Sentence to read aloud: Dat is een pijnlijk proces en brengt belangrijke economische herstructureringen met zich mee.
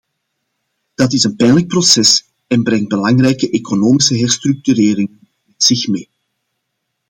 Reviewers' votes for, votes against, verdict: 1, 2, rejected